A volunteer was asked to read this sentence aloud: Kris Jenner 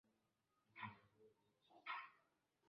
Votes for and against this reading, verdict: 0, 2, rejected